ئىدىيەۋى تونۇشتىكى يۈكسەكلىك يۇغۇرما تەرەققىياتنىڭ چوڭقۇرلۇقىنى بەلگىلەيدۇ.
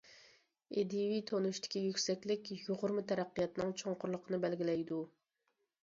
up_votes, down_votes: 2, 0